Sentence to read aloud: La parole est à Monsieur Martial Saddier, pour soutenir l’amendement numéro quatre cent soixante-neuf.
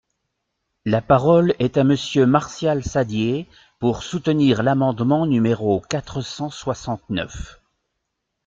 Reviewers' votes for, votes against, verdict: 2, 0, accepted